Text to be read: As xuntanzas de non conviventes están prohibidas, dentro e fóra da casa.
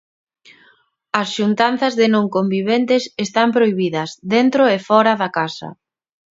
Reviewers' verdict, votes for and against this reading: accepted, 2, 0